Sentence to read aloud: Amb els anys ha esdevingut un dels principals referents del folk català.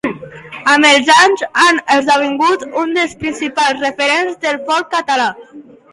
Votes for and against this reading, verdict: 0, 2, rejected